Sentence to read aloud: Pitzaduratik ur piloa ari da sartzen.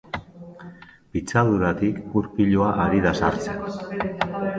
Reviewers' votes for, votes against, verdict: 2, 0, accepted